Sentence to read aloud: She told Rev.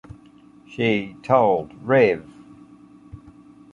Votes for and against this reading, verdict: 2, 0, accepted